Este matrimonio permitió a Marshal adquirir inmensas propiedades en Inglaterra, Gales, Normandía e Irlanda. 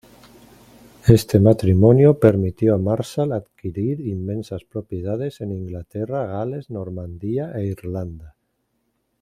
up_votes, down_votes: 1, 2